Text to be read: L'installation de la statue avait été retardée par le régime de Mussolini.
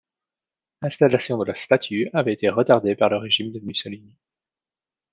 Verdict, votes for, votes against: rejected, 1, 2